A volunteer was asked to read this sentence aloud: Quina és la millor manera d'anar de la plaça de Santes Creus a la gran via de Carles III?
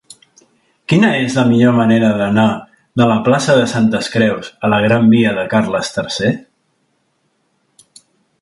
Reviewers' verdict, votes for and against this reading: rejected, 1, 2